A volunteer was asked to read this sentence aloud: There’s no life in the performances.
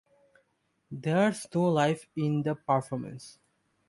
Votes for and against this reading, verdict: 0, 2, rejected